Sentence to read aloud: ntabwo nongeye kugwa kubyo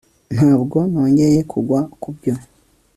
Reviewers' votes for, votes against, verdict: 2, 0, accepted